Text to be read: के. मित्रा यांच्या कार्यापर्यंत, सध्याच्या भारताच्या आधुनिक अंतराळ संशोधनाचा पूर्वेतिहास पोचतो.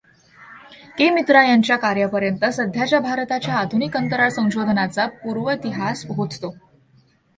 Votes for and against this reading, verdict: 2, 0, accepted